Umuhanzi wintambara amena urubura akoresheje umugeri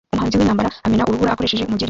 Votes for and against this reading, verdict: 0, 3, rejected